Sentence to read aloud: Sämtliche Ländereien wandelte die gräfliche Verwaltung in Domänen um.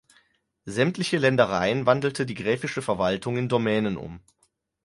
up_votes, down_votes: 0, 4